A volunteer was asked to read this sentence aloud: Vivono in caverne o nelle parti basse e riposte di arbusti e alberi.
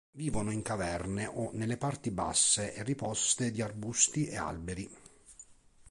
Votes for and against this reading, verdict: 2, 0, accepted